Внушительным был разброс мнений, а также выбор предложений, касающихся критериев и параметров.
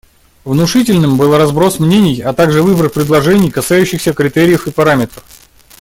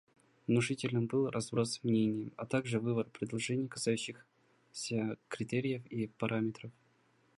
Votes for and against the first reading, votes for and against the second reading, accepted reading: 2, 0, 0, 2, first